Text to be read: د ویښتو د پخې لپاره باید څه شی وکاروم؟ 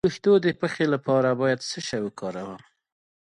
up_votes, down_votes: 2, 0